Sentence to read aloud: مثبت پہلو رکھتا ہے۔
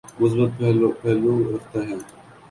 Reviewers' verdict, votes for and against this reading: accepted, 2, 1